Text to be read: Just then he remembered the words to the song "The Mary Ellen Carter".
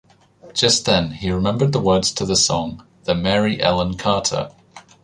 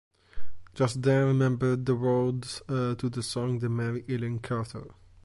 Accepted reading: first